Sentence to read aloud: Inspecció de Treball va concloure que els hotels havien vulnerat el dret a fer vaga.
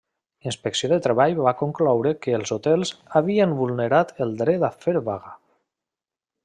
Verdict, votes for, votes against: rejected, 1, 2